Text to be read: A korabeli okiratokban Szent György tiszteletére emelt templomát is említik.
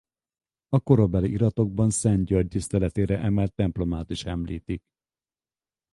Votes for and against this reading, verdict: 2, 2, rejected